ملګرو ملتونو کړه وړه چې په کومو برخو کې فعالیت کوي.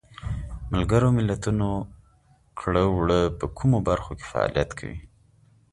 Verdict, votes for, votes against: accepted, 2, 0